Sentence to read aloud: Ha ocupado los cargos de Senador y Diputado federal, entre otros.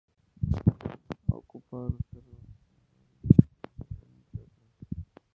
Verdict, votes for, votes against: rejected, 0, 2